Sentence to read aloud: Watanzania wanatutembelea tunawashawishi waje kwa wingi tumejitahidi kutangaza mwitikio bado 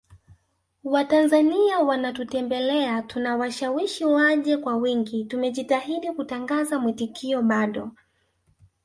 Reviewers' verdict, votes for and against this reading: rejected, 1, 2